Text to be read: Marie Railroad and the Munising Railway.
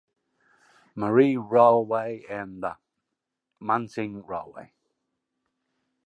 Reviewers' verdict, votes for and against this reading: rejected, 1, 2